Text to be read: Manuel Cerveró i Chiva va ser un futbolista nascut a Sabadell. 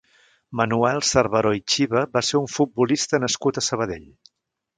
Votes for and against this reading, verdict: 3, 0, accepted